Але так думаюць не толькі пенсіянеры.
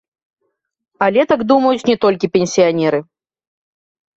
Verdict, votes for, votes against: rejected, 1, 2